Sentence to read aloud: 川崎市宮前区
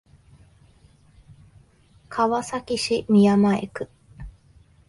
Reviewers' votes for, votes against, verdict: 4, 0, accepted